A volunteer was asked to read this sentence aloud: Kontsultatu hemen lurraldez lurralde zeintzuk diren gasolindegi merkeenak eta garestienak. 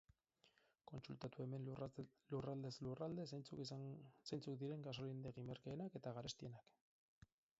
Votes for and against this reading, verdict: 2, 4, rejected